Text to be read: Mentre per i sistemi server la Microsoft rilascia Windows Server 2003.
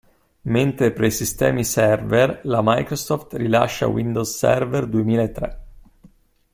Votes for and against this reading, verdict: 0, 2, rejected